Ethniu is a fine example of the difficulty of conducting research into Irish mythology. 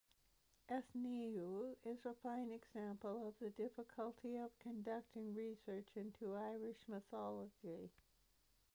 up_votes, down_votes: 2, 0